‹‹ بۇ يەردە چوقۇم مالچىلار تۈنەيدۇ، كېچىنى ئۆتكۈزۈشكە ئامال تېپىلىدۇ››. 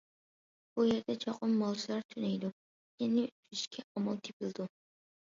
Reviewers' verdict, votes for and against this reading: rejected, 0, 2